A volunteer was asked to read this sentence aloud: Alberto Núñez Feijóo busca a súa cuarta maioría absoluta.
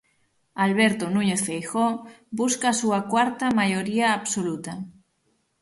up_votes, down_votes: 6, 0